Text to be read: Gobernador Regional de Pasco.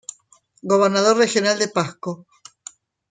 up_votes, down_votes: 1, 2